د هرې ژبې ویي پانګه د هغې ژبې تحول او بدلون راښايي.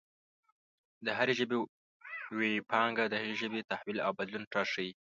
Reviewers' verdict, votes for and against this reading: rejected, 1, 2